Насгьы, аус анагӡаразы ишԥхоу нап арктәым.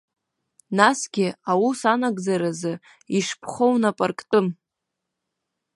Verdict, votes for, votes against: accepted, 2, 0